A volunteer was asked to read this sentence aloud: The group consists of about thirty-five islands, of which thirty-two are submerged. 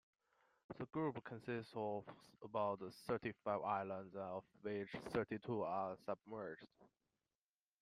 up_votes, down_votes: 2, 0